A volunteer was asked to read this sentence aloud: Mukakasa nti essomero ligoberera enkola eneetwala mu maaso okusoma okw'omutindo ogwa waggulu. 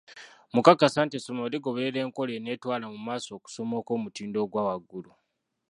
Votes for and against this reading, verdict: 1, 2, rejected